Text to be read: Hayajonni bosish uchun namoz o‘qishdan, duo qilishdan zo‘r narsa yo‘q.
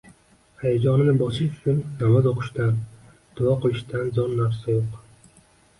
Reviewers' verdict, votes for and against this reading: accepted, 2, 0